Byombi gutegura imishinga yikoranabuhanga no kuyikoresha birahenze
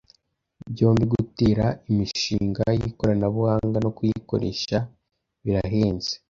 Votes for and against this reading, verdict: 0, 3, rejected